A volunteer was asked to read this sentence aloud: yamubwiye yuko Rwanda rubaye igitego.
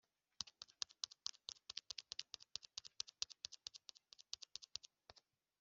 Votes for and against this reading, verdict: 0, 2, rejected